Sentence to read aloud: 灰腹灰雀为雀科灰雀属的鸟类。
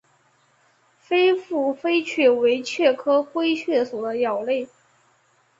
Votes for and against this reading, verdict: 0, 2, rejected